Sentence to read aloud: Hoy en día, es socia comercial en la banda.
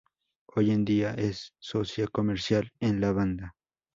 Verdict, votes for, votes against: rejected, 0, 2